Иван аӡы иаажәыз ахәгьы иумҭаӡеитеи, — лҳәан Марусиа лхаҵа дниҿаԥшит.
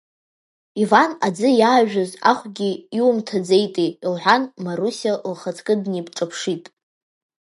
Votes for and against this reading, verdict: 0, 2, rejected